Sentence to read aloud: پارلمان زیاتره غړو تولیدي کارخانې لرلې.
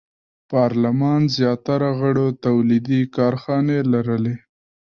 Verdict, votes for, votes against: rejected, 1, 2